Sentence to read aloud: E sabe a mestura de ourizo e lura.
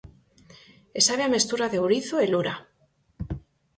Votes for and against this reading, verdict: 4, 0, accepted